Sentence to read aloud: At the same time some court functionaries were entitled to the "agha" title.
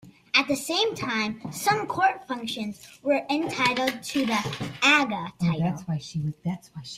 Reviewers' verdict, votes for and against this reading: accepted, 2, 1